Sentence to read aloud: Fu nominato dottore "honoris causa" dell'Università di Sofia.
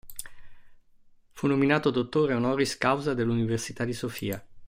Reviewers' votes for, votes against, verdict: 2, 0, accepted